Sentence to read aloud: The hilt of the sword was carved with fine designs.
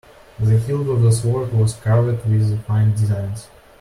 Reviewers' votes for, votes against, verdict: 0, 2, rejected